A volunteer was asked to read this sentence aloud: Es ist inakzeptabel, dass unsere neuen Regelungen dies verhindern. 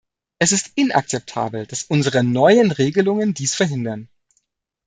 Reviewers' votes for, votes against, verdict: 2, 0, accepted